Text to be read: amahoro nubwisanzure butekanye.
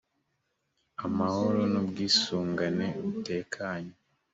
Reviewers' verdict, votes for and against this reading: rejected, 1, 2